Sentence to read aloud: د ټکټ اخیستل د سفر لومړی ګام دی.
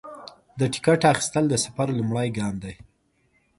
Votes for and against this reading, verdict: 1, 2, rejected